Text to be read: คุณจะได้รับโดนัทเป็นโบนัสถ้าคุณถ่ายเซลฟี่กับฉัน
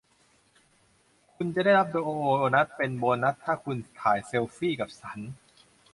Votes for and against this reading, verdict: 0, 2, rejected